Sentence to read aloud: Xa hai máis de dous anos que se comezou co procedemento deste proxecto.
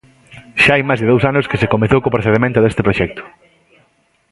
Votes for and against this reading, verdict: 2, 0, accepted